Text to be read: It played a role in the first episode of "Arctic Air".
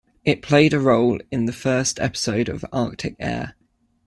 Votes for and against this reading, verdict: 2, 0, accepted